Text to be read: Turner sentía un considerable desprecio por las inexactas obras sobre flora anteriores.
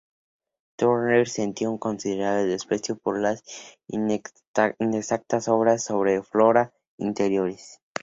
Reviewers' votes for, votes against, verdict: 0, 2, rejected